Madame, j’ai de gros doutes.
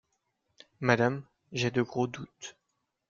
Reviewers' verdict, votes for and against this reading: accepted, 2, 0